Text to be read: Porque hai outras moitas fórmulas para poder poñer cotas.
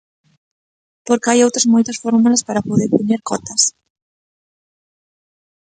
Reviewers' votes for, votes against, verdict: 2, 0, accepted